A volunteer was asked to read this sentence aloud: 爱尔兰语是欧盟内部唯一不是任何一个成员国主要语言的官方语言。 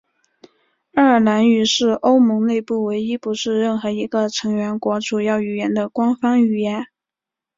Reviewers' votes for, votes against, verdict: 3, 1, accepted